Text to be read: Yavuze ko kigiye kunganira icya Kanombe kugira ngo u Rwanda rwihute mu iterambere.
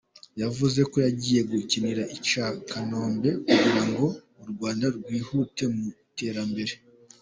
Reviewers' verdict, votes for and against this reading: rejected, 0, 2